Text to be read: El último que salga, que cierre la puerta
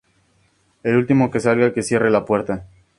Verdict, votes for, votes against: accepted, 2, 0